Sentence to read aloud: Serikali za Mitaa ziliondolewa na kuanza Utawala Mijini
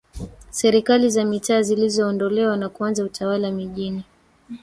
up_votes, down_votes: 1, 2